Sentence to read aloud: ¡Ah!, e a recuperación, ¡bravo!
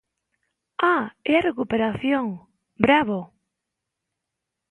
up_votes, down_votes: 2, 0